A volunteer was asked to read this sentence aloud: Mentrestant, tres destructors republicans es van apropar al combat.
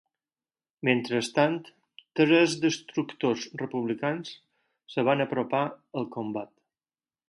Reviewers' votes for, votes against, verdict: 0, 4, rejected